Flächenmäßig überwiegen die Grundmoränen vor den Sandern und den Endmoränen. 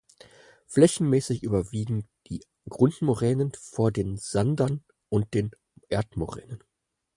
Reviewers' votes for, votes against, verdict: 0, 4, rejected